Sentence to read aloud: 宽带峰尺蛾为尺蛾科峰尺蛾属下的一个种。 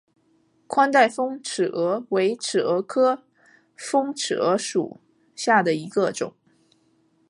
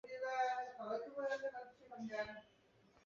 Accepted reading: first